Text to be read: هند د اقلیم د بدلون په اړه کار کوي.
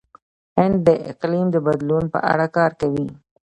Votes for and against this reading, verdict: 2, 0, accepted